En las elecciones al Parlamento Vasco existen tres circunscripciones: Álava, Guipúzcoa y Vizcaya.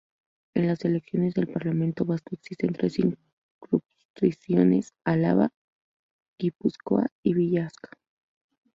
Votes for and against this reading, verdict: 0, 2, rejected